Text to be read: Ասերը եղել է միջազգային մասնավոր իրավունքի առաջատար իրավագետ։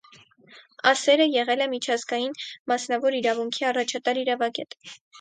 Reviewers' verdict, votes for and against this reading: accepted, 4, 0